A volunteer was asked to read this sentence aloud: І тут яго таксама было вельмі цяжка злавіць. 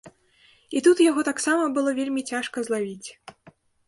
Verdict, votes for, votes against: accepted, 2, 0